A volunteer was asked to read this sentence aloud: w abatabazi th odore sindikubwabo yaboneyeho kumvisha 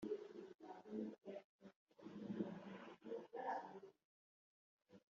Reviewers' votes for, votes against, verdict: 0, 2, rejected